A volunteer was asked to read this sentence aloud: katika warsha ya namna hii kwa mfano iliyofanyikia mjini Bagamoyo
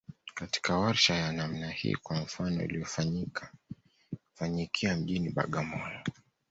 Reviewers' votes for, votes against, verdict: 2, 0, accepted